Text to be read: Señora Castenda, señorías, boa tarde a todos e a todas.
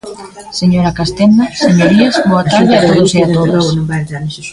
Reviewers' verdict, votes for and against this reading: rejected, 0, 2